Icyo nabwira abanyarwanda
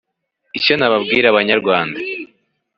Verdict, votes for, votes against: accepted, 2, 1